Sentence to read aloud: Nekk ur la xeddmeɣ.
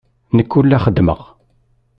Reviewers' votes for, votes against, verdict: 2, 0, accepted